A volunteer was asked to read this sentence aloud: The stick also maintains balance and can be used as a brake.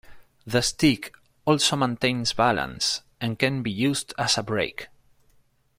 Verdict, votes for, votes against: accepted, 2, 0